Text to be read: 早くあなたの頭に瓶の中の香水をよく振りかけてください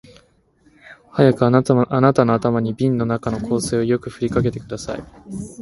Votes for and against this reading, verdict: 18, 5, accepted